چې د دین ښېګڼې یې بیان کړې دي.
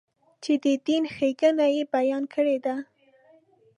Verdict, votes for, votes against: rejected, 1, 2